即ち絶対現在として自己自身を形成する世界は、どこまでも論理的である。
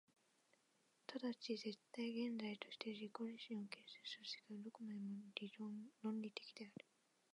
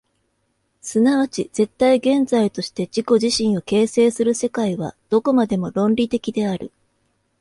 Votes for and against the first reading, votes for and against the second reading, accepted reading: 0, 3, 2, 0, second